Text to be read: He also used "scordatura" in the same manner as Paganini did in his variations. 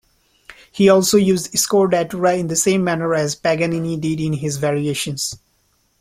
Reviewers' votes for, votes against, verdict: 0, 2, rejected